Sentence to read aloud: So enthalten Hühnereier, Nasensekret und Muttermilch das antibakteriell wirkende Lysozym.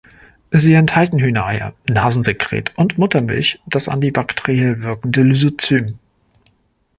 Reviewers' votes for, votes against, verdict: 1, 2, rejected